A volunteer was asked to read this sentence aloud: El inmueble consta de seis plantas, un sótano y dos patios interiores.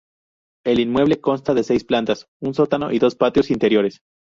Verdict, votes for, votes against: rejected, 0, 2